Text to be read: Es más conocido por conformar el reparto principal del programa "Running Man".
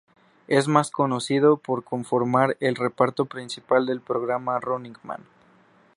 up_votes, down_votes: 2, 0